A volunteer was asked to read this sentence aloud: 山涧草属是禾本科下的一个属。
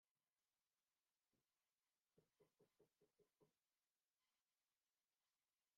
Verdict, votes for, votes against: rejected, 0, 2